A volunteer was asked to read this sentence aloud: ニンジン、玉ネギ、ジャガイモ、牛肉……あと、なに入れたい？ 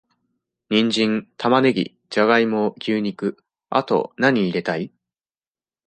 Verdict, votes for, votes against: accepted, 2, 0